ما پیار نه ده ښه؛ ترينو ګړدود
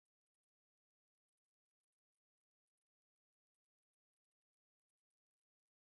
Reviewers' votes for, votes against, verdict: 1, 2, rejected